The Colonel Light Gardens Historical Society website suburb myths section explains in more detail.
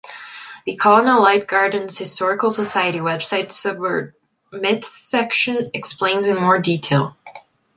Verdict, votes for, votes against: accepted, 2, 0